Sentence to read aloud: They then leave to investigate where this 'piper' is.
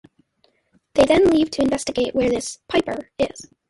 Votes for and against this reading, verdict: 2, 0, accepted